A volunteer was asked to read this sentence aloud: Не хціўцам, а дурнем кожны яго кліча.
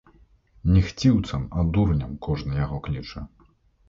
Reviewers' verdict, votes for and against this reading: rejected, 0, 2